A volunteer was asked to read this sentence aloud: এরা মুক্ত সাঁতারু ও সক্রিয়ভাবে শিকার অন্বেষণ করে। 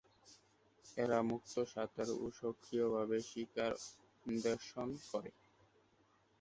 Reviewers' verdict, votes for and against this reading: rejected, 1, 2